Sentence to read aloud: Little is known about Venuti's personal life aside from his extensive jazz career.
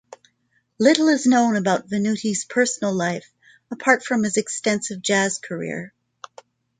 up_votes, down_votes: 1, 2